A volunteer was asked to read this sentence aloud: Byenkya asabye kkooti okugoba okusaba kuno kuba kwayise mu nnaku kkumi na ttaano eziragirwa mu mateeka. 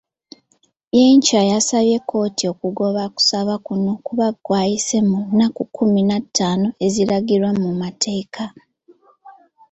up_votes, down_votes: 2, 0